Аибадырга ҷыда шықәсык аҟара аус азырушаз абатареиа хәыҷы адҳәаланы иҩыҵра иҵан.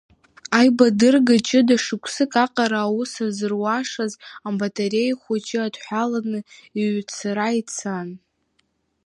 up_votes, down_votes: 0, 2